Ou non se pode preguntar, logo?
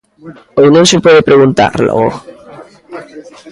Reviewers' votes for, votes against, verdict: 1, 2, rejected